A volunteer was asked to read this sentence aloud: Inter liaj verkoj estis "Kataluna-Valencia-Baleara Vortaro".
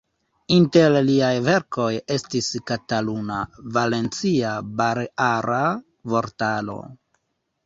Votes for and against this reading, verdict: 2, 3, rejected